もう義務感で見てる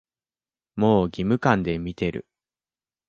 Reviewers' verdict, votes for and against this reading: accepted, 2, 0